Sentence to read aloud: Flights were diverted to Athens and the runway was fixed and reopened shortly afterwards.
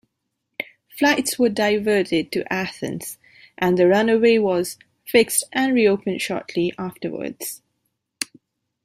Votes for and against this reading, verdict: 2, 0, accepted